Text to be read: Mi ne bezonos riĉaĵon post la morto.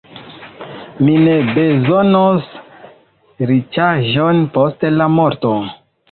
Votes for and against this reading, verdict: 0, 2, rejected